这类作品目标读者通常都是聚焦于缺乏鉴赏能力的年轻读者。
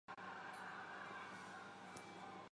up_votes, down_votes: 4, 2